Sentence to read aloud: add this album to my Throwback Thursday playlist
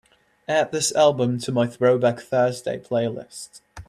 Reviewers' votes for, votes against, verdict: 2, 0, accepted